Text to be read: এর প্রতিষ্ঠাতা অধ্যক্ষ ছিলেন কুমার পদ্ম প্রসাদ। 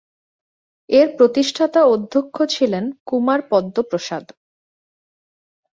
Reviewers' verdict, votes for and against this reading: accepted, 2, 0